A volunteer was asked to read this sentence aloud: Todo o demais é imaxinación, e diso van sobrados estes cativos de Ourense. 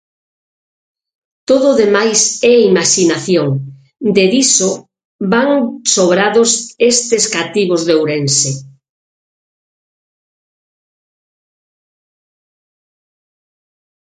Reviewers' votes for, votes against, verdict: 0, 6, rejected